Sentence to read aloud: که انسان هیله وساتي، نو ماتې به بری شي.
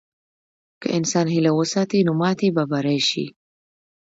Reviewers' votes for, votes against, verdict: 2, 0, accepted